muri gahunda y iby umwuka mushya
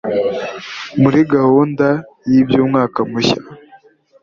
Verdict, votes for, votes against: rejected, 0, 2